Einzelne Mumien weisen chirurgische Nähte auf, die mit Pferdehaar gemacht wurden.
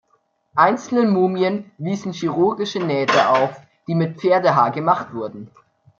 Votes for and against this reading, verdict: 0, 2, rejected